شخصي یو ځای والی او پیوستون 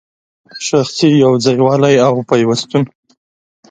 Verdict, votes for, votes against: accepted, 2, 0